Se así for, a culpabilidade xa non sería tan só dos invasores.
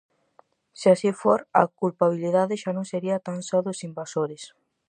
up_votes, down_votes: 4, 0